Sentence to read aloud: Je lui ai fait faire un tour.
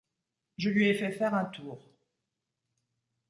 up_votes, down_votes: 2, 0